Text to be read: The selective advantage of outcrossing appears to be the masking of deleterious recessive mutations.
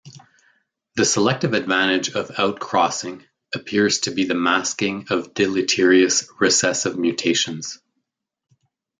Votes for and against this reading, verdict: 2, 0, accepted